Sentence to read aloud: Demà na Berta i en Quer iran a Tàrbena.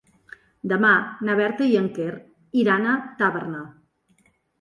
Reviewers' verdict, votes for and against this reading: rejected, 1, 2